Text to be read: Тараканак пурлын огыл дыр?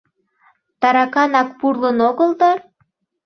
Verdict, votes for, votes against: accepted, 2, 0